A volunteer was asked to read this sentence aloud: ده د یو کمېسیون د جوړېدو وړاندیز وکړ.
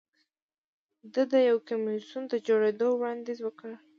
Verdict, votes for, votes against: accepted, 2, 0